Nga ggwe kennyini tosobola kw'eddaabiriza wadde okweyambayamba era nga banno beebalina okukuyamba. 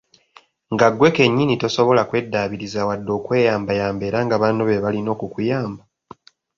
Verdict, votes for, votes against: accepted, 3, 0